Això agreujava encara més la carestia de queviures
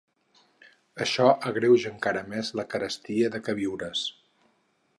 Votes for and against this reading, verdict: 4, 6, rejected